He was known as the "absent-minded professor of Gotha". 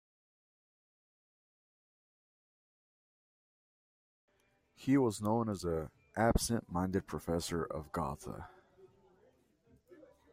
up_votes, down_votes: 0, 2